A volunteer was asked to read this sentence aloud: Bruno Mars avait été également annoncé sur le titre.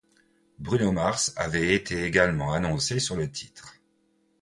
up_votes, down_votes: 2, 0